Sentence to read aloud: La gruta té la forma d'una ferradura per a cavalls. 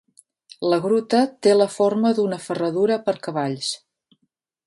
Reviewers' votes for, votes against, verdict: 1, 2, rejected